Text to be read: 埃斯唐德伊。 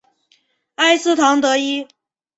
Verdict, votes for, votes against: accepted, 2, 0